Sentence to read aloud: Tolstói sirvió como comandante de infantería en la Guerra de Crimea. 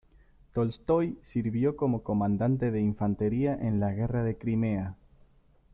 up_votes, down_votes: 2, 1